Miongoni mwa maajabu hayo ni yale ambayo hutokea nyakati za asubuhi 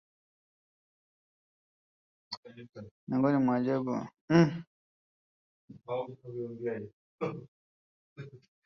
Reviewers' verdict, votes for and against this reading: rejected, 1, 2